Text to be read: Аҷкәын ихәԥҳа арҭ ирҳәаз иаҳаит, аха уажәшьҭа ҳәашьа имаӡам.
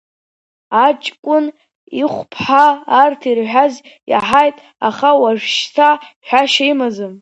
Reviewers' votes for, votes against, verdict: 0, 2, rejected